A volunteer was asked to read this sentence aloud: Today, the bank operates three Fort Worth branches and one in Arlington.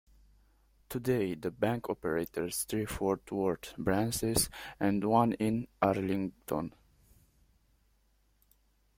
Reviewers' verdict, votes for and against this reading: rejected, 0, 2